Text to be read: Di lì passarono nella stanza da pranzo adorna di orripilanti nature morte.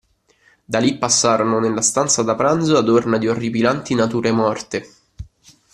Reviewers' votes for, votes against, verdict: 1, 2, rejected